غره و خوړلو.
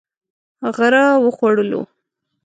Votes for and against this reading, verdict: 1, 2, rejected